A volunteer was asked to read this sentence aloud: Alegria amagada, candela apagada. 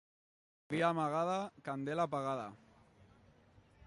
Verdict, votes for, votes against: rejected, 0, 2